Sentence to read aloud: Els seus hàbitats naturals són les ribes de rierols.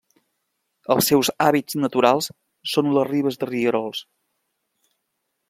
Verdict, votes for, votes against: rejected, 1, 2